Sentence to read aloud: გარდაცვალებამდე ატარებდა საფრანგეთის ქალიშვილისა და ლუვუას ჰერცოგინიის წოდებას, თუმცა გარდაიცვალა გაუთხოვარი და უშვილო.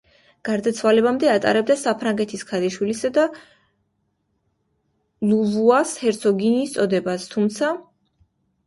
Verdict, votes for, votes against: rejected, 1, 2